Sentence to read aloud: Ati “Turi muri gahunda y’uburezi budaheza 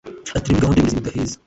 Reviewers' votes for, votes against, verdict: 1, 2, rejected